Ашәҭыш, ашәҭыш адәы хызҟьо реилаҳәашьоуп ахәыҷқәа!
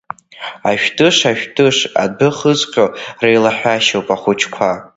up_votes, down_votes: 1, 2